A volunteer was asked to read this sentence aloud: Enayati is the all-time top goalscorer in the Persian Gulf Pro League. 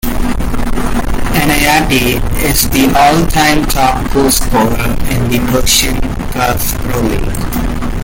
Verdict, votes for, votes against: rejected, 0, 2